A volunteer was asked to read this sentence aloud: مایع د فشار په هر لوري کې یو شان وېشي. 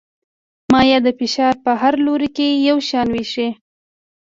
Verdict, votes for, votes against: accepted, 2, 0